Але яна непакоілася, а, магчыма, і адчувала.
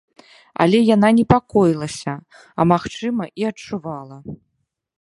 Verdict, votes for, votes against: accepted, 2, 0